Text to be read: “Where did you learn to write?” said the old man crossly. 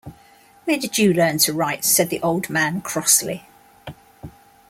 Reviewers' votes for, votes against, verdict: 2, 0, accepted